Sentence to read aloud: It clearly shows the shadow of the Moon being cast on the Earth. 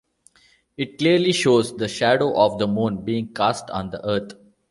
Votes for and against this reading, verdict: 2, 0, accepted